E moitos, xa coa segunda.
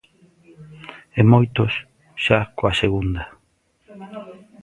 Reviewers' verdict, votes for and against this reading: rejected, 1, 2